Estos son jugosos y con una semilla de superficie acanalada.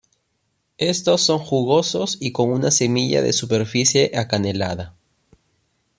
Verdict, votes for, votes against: rejected, 1, 2